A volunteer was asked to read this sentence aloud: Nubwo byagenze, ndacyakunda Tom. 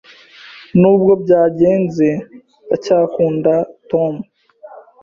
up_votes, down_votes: 3, 0